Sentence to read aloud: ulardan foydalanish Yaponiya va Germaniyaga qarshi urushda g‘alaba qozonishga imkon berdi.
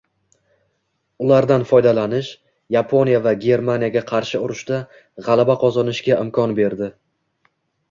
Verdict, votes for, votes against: accepted, 2, 0